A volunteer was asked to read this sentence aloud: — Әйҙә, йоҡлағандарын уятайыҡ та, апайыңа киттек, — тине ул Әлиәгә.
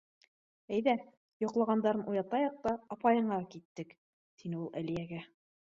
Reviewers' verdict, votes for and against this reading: accepted, 2, 0